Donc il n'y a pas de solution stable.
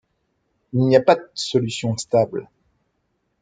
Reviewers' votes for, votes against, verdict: 0, 2, rejected